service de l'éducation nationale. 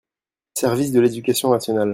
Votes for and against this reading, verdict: 2, 0, accepted